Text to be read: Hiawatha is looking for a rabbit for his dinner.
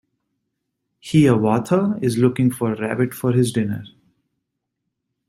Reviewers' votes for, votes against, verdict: 2, 0, accepted